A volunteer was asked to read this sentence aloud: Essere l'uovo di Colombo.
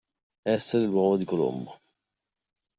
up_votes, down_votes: 2, 1